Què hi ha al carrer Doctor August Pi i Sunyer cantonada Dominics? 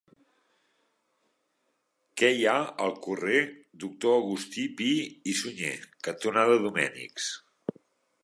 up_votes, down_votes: 0, 3